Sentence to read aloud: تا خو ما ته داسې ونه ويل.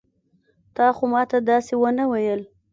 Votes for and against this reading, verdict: 2, 0, accepted